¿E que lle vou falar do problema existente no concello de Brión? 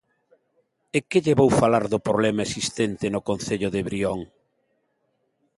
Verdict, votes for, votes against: accepted, 2, 0